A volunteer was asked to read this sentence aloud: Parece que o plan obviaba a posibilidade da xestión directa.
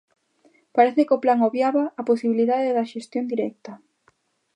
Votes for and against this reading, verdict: 2, 0, accepted